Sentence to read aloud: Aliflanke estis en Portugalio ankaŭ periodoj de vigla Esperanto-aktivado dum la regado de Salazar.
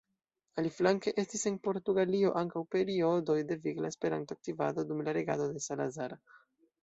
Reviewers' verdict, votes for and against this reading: accepted, 2, 0